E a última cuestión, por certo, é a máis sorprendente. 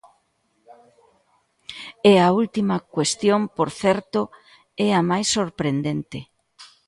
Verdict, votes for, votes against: accepted, 2, 0